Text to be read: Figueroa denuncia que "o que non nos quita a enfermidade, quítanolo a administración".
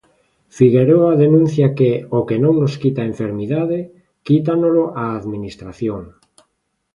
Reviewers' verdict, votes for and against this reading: accepted, 2, 0